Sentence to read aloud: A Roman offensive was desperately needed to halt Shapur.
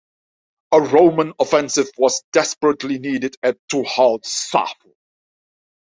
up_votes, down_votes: 0, 2